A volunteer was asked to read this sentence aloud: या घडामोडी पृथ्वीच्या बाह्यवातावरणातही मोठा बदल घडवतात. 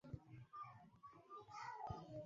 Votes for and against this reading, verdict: 0, 2, rejected